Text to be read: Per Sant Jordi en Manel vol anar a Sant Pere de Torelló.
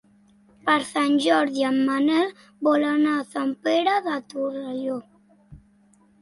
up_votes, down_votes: 3, 0